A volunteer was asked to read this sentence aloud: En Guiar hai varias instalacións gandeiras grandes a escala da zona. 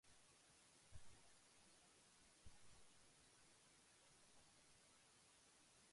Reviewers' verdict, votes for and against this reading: rejected, 0, 2